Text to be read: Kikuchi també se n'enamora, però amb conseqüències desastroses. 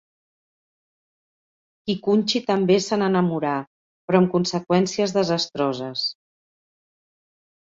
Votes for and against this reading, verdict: 2, 4, rejected